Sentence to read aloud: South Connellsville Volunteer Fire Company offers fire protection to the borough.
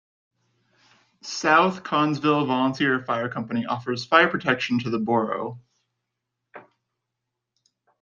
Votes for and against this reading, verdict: 2, 0, accepted